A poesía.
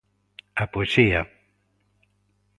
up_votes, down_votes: 2, 0